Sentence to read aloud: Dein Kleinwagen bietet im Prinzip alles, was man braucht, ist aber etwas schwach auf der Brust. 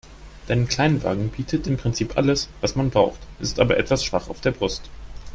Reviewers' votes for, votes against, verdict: 2, 0, accepted